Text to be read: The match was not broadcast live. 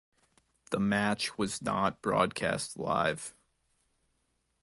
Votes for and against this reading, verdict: 3, 1, accepted